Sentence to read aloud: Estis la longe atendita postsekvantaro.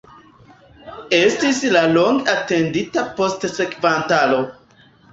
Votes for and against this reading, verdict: 0, 2, rejected